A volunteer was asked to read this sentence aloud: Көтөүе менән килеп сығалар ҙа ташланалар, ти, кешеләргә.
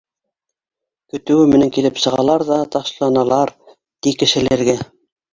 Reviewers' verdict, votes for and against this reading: rejected, 0, 2